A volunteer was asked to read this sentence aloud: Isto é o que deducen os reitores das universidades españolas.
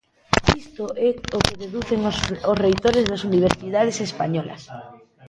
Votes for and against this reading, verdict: 0, 2, rejected